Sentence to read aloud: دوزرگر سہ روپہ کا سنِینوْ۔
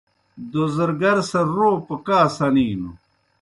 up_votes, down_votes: 2, 0